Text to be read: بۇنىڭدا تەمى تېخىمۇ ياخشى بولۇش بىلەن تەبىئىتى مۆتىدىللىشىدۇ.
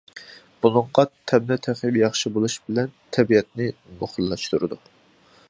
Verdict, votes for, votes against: rejected, 0, 2